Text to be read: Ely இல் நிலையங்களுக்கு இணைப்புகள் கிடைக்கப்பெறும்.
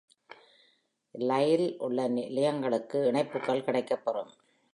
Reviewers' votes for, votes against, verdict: 1, 2, rejected